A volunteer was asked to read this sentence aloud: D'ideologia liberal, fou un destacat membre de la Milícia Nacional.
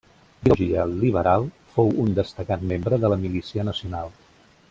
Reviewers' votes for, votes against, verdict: 0, 2, rejected